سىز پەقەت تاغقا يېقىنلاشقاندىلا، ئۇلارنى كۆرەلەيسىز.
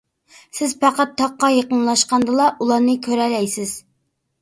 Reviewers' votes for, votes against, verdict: 2, 0, accepted